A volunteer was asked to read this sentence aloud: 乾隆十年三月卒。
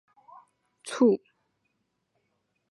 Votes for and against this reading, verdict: 0, 6, rejected